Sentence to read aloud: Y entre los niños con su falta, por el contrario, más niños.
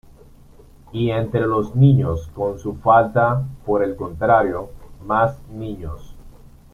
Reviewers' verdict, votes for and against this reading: rejected, 1, 2